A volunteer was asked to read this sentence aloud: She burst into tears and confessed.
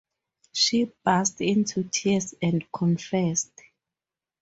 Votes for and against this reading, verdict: 4, 0, accepted